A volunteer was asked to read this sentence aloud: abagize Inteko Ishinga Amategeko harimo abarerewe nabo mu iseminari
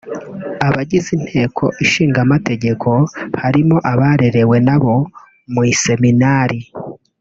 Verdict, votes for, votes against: accepted, 2, 0